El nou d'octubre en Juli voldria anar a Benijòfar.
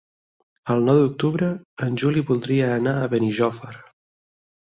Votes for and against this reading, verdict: 6, 2, accepted